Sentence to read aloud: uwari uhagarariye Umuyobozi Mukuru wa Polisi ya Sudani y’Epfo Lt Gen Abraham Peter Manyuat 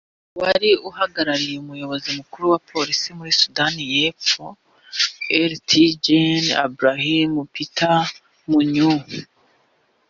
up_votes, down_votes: 0, 2